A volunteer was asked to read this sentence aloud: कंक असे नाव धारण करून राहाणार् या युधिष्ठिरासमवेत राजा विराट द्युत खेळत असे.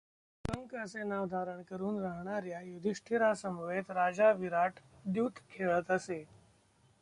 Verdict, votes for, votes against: rejected, 1, 2